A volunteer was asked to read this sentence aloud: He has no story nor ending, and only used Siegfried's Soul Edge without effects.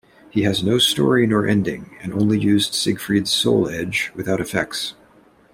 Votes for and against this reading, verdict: 2, 0, accepted